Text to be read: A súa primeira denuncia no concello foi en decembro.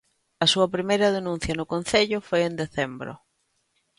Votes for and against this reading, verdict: 2, 0, accepted